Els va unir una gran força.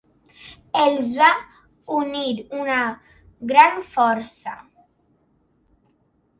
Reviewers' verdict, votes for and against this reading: accepted, 2, 1